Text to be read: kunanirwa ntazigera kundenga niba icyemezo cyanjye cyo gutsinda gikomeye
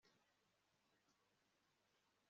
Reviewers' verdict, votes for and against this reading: rejected, 1, 2